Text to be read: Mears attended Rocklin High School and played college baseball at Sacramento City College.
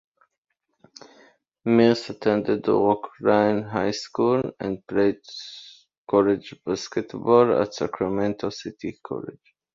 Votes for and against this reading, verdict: 0, 2, rejected